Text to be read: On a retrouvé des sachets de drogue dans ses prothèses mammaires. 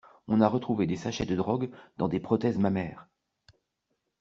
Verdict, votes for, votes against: rejected, 0, 2